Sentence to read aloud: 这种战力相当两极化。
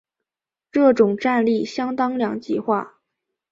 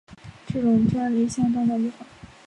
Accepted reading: first